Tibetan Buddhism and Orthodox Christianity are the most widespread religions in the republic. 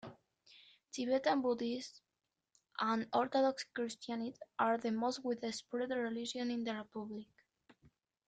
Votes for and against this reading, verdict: 0, 2, rejected